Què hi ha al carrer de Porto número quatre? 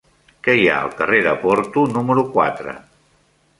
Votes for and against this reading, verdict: 3, 0, accepted